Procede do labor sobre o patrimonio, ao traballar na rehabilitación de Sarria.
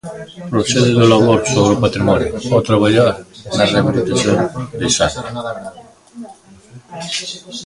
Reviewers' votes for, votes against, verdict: 1, 2, rejected